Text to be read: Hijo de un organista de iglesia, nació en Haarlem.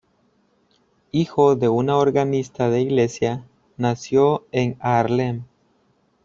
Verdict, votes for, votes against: rejected, 1, 2